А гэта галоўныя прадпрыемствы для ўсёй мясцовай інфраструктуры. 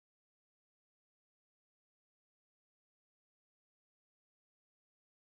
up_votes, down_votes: 0, 2